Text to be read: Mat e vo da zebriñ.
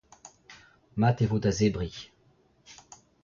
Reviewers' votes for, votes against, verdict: 1, 2, rejected